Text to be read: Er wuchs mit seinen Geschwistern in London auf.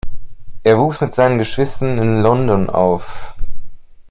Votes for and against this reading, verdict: 2, 0, accepted